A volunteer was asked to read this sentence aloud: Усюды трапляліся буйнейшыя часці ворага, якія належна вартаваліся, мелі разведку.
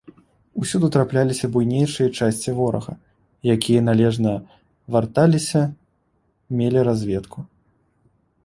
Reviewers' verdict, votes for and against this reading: rejected, 1, 2